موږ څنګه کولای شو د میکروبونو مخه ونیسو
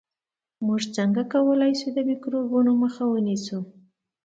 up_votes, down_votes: 2, 0